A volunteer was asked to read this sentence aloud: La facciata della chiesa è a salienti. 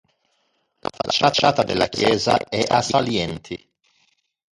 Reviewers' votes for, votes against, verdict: 1, 2, rejected